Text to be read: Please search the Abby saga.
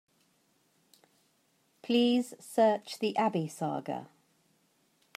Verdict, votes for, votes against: accepted, 2, 0